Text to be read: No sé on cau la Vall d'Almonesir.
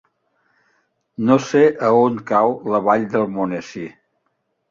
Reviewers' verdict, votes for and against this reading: rejected, 0, 2